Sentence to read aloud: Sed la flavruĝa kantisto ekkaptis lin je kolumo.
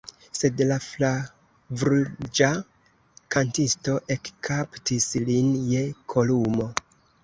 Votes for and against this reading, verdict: 0, 3, rejected